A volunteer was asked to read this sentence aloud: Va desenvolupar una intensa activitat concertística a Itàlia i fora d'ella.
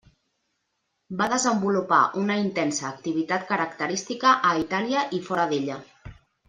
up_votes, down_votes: 0, 2